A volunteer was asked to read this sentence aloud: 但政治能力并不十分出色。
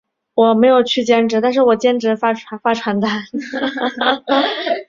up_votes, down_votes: 0, 3